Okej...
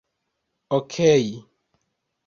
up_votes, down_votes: 1, 2